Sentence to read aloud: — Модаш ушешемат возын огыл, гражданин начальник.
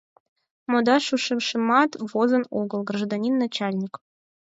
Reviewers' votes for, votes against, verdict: 2, 4, rejected